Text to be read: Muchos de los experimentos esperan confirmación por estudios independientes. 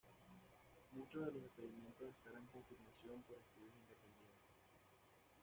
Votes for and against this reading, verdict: 1, 2, rejected